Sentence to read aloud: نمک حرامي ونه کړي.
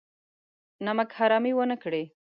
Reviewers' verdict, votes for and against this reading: rejected, 0, 2